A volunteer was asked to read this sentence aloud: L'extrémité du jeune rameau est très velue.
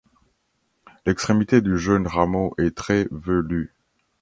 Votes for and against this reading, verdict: 2, 0, accepted